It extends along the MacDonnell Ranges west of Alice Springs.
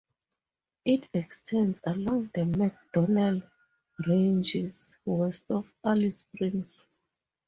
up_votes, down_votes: 4, 2